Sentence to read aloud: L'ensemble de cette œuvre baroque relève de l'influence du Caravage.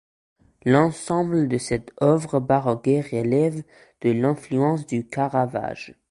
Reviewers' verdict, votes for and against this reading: rejected, 1, 2